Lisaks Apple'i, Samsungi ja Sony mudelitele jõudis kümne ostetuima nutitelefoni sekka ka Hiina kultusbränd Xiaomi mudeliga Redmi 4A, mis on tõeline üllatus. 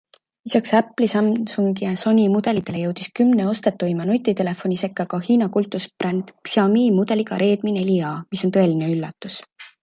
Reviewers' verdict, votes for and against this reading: rejected, 0, 2